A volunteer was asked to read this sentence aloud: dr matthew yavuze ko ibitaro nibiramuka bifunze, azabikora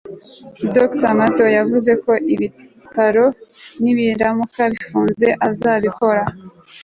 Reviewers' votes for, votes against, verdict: 3, 0, accepted